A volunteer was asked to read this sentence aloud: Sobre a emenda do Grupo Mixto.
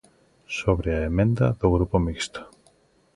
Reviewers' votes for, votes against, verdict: 2, 0, accepted